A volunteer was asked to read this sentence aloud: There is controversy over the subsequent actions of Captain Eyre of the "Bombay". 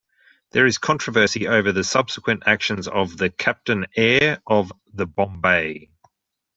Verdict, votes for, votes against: rejected, 1, 2